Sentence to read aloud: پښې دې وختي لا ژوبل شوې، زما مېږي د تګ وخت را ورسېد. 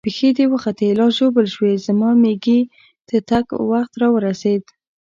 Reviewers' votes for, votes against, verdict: 2, 0, accepted